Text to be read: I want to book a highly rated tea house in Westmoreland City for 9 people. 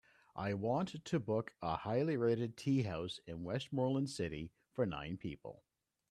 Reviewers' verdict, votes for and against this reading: rejected, 0, 2